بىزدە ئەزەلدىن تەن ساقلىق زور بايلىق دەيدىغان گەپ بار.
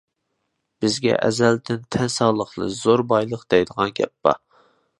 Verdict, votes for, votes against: rejected, 0, 2